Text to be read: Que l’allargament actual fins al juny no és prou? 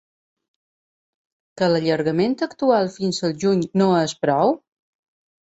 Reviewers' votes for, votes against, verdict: 6, 0, accepted